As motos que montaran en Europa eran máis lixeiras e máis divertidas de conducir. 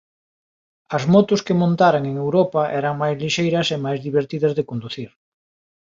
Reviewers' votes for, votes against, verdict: 2, 0, accepted